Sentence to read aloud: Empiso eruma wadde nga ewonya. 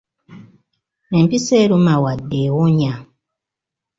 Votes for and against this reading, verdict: 1, 2, rejected